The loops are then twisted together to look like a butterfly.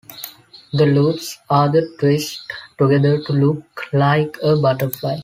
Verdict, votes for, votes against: rejected, 0, 2